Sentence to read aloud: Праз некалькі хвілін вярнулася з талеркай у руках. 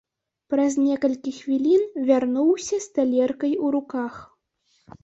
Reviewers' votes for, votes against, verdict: 0, 2, rejected